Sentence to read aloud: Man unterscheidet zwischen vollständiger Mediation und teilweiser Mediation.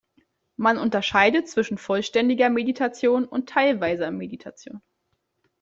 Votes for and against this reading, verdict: 1, 2, rejected